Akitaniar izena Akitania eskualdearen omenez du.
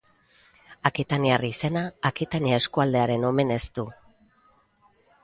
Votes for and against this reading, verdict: 2, 0, accepted